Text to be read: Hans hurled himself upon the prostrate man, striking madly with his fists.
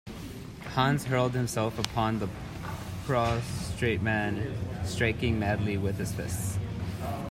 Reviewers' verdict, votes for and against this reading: rejected, 1, 2